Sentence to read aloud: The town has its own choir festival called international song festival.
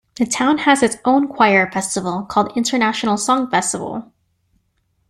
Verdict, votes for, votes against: accepted, 2, 0